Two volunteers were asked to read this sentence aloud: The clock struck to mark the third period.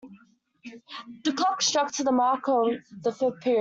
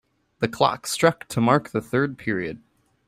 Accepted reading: second